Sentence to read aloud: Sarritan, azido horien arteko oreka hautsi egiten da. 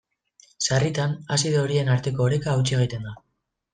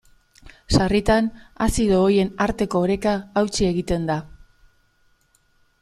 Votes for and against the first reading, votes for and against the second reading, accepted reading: 2, 0, 0, 2, first